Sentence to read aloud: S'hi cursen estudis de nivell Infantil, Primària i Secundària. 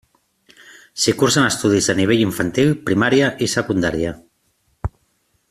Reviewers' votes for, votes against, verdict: 2, 0, accepted